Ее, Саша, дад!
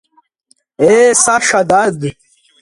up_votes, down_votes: 0, 2